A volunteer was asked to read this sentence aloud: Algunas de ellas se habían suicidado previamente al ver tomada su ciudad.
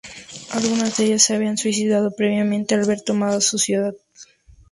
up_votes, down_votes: 2, 0